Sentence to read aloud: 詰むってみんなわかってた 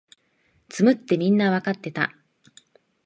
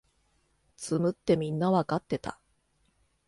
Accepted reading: second